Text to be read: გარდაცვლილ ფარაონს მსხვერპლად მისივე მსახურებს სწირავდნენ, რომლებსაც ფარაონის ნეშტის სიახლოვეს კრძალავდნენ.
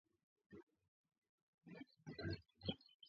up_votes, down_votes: 0, 2